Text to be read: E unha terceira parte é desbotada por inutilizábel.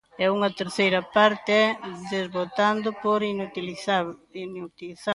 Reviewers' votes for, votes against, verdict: 0, 3, rejected